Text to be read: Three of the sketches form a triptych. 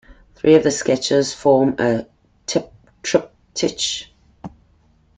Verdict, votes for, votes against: rejected, 1, 2